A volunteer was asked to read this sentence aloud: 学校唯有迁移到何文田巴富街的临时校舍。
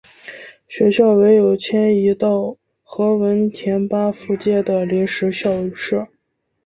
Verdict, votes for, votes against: accepted, 2, 0